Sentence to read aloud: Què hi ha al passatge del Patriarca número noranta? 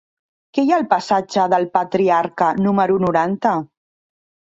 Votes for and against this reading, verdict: 3, 1, accepted